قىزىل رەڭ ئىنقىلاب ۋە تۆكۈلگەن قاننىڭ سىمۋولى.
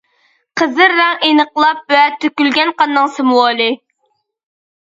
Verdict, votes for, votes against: rejected, 1, 2